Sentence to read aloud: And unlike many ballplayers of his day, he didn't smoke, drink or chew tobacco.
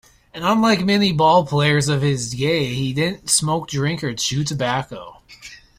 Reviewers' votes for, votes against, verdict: 2, 1, accepted